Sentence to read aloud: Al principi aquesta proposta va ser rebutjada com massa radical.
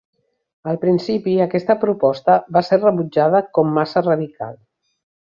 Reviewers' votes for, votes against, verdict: 2, 0, accepted